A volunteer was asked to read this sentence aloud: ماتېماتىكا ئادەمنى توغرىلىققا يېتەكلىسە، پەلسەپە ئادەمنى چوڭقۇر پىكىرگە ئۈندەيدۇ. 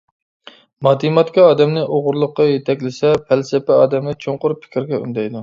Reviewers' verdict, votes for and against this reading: accepted, 2, 0